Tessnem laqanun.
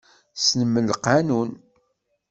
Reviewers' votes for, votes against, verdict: 2, 0, accepted